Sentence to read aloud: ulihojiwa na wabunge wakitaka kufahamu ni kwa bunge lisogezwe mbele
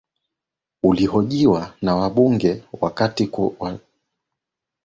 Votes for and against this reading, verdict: 0, 2, rejected